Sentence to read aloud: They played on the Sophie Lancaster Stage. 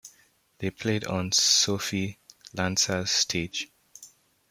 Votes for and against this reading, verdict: 0, 2, rejected